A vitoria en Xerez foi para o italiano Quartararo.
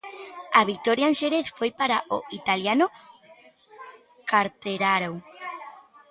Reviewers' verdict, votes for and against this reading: rejected, 1, 2